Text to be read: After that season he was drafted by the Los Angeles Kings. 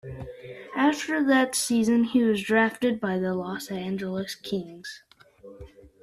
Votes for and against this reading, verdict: 2, 1, accepted